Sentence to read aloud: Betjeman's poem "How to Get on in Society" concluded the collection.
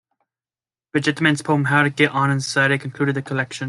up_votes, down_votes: 2, 1